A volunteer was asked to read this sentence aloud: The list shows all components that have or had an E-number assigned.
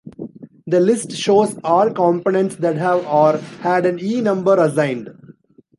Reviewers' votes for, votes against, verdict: 2, 0, accepted